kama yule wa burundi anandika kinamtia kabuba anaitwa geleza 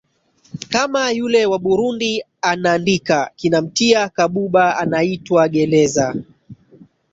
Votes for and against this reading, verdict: 3, 4, rejected